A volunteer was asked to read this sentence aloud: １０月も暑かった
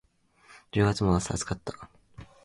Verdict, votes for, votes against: rejected, 0, 2